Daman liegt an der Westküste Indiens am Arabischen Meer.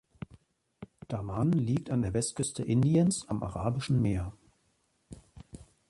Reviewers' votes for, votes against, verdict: 3, 0, accepted